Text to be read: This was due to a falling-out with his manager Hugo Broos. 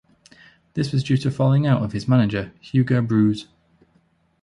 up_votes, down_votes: 1, 2